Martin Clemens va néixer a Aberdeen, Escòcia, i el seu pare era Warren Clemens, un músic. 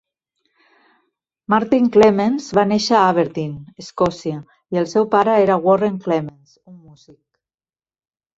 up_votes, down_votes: 0, 2